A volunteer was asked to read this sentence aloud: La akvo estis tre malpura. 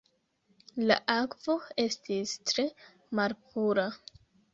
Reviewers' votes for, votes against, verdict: 3, 1, accepted